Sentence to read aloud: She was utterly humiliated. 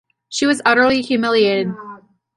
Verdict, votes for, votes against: rejected, 0, 2